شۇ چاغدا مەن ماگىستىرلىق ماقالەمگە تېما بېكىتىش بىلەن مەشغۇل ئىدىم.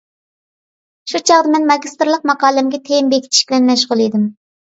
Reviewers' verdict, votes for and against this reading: rejected, 1, 2